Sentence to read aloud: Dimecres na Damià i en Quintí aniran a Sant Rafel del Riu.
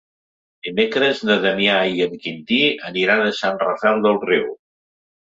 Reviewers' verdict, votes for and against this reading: accepted, 3, 0